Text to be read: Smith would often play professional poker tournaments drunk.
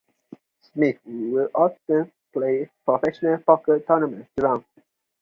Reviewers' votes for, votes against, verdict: 2, 0, accepted